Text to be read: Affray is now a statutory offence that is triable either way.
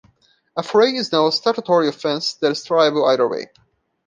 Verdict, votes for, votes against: accepted, 2, 0